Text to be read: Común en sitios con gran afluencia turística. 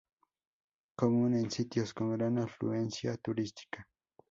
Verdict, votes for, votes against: rejected, 0, 2